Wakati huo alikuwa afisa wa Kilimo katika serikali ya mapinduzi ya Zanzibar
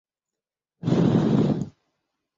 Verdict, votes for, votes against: rejected, 0, 2